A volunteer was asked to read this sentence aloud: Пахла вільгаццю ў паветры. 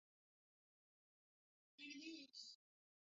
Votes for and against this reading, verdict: 0, 3, rejected